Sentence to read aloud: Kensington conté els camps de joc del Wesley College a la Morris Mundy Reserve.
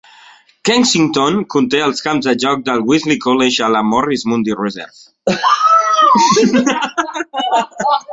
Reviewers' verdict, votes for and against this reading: rejected, 1, 2